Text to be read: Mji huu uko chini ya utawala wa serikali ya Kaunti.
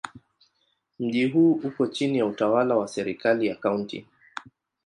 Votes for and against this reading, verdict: 2, 0, accepted